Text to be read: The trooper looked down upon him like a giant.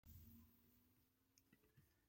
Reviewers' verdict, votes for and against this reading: rejected, 0, 2